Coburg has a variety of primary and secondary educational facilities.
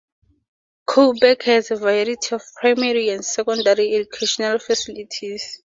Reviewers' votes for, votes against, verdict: 4, 0, accepted